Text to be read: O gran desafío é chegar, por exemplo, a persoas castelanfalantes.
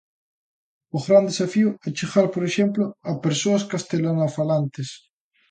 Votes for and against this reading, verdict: 0, 2, rejected